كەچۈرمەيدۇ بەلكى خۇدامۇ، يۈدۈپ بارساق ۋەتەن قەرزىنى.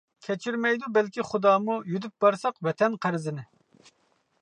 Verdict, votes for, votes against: accepted, 2, 0